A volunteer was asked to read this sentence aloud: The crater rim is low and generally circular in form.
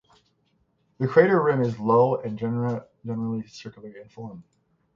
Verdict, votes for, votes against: rejected, 9, 12